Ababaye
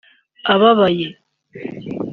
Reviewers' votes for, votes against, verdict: 2, 0, accepted